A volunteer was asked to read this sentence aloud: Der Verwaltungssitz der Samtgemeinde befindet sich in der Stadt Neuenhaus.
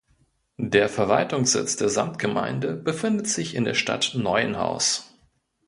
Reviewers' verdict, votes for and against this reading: accepted, 2, 0